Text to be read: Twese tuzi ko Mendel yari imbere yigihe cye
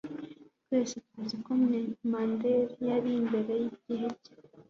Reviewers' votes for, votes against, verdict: 2, 0, accepted